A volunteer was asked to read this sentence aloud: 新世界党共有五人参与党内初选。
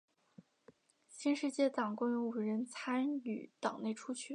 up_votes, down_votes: 2, 0